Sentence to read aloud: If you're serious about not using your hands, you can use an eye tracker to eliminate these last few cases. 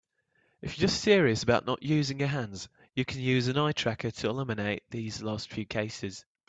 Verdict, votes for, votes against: accepted, 2, 0